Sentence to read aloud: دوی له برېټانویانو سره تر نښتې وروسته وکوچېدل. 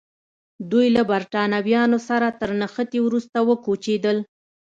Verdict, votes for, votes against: accepted, 2, 0